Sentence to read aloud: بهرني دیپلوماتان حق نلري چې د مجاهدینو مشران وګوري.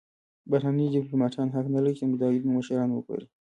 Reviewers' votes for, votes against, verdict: 0, 2, rejected